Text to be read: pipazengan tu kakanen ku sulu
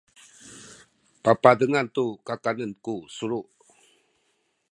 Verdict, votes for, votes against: rejected, 1, 2